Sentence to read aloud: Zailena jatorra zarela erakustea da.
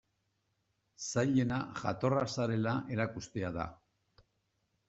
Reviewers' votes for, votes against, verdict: 2, 0, accepted